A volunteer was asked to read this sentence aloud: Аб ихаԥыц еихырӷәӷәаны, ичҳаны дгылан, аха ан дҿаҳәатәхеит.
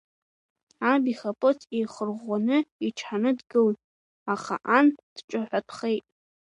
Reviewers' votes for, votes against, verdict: 2, 0, accepted